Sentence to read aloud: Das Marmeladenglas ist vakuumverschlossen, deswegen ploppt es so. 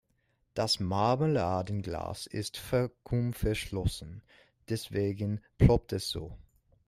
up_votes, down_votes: 0, 2